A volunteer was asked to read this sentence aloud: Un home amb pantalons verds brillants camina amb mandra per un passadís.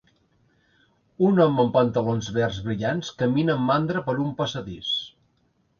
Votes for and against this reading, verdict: 2, 0, accepted